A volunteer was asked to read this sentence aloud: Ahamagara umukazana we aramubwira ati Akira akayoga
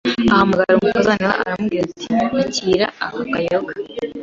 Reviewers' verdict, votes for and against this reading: accepted, 3, 0